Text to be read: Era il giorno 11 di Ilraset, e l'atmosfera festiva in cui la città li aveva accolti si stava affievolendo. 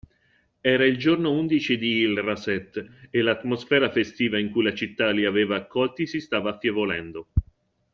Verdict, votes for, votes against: rejected, 0, 2